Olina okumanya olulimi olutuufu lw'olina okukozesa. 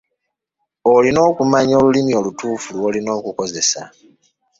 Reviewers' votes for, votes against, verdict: 3, 1, accepted